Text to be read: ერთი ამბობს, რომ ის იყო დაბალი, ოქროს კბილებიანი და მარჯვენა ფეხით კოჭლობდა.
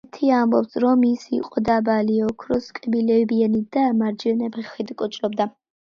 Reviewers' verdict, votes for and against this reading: accepted, 2, 0